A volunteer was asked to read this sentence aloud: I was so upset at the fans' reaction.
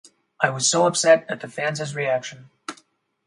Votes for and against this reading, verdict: 0, 2, rejected